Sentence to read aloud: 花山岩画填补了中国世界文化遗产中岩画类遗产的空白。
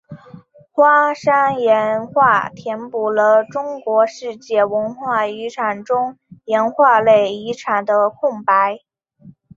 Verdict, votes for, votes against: accepted, 3, 0